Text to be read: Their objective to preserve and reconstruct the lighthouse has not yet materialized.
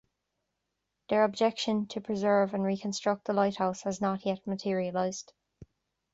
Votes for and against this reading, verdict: 1, 2, rejected